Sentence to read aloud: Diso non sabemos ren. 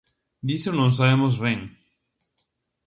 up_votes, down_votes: 2, 0